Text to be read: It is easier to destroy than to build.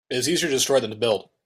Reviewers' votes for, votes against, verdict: 2, 0, accepted